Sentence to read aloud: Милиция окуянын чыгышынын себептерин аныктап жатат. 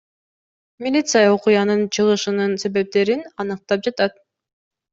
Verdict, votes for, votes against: accepted, 2, 0